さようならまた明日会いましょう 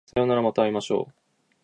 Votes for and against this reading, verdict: 0, 2, rejected